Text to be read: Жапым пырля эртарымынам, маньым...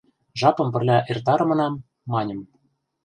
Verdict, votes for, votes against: accepted, 2, 0